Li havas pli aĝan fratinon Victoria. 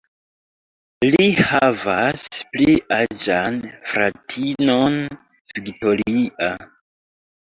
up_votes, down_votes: 1, 2